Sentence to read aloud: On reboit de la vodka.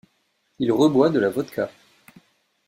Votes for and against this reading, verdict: 1, 2, rejected